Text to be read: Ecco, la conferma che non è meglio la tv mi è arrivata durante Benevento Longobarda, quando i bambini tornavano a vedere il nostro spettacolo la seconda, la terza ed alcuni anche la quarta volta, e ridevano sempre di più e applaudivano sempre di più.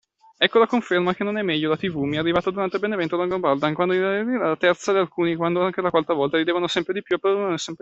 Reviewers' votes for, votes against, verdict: 1, 2, rejected